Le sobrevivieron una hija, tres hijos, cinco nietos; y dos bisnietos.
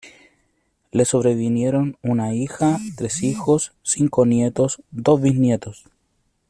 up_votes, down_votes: 1, 2